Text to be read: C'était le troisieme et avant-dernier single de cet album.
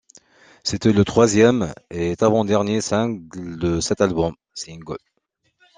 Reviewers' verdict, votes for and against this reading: rejected, 0, 2